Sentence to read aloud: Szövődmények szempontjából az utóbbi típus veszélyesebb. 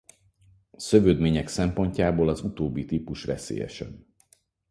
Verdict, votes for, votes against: accepted, 4, 0